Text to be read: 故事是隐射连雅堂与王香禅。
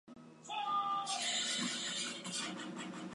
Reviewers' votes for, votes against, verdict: 1, 2, rejected